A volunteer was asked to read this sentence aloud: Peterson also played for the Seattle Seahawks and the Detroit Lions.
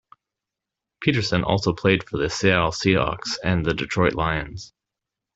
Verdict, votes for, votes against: accepted, 2, 0